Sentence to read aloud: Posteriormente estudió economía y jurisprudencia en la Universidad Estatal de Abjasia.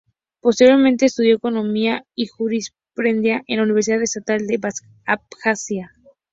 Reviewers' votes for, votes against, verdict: 2, 0, accepted